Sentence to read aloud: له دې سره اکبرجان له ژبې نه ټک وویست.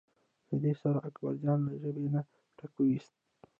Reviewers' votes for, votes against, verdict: 0, 2, rejected